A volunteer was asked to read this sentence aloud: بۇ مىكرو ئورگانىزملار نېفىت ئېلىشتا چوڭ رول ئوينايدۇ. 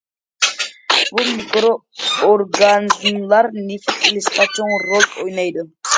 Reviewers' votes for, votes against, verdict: 0, 2, rejected